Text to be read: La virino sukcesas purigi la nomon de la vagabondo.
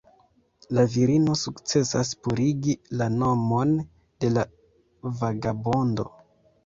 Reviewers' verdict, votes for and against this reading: rejected, 0, 2